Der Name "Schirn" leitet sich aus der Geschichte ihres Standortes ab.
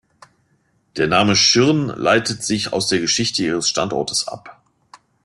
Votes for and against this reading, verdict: 2, 0, accepted